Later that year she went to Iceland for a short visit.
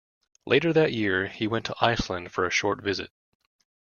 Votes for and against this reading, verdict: 1, 2, rejected